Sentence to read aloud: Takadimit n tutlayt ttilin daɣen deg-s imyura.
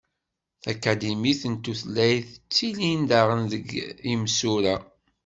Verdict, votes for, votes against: rejected, 1, 2